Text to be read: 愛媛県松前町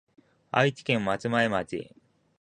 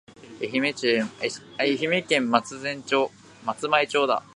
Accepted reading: first